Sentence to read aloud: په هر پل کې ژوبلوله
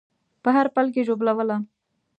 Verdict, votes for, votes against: accepted, 2, 0